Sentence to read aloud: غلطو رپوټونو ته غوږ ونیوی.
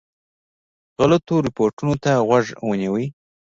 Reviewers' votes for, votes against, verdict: 2, 0, accepted